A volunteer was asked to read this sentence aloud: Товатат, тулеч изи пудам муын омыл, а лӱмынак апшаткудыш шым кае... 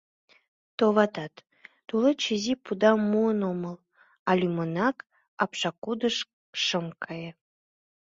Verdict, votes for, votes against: rejected, 0, 2